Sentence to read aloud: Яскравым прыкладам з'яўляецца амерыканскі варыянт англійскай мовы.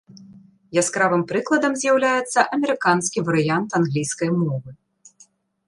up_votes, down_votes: 3, 0